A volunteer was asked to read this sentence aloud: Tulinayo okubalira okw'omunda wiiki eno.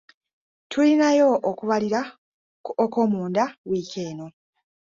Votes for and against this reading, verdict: 1, 2, rejected